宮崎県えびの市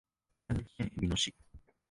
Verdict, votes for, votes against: rejected, 0, 3